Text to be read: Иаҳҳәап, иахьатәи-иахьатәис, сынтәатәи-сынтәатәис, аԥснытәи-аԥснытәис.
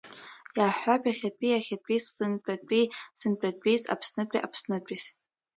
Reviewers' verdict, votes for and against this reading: accepted, 2, 1